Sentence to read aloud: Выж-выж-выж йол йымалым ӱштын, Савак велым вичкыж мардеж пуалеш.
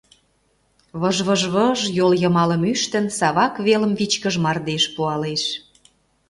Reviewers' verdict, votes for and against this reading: accepted, 2, 0